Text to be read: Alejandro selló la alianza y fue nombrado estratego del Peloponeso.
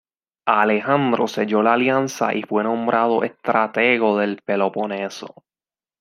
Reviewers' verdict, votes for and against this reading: accepted, 2, 0